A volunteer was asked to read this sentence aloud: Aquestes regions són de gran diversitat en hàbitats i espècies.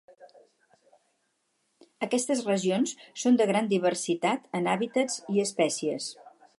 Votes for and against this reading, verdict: 4, 0, accepted